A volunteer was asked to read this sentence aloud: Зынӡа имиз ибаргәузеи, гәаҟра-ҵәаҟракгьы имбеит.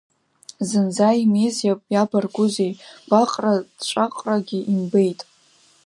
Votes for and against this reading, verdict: 1, 2, rejected